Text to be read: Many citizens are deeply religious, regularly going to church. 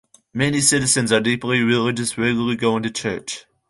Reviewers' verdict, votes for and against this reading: accepted, 2, 1